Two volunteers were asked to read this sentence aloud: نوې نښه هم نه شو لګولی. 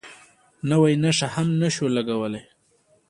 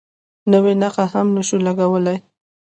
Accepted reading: first